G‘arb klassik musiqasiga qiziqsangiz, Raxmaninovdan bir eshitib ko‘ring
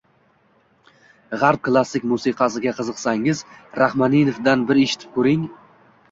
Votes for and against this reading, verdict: 2, 0, accepted